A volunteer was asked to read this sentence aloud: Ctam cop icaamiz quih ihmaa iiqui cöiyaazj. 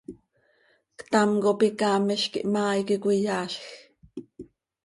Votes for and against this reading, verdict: 2, 0, accepted